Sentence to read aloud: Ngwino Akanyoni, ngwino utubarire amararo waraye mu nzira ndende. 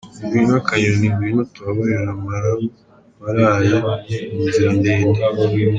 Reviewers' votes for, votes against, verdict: 0, 2, rejected